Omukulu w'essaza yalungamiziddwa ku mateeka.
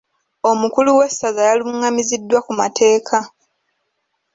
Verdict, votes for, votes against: accepted, 2, 0